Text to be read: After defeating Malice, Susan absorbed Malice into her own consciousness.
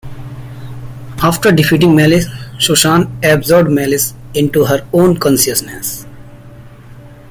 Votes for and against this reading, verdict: 2, 0, accepted